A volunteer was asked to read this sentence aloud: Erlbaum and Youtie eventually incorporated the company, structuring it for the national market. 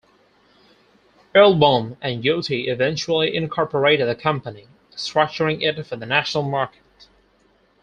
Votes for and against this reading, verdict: 4, 0, accepted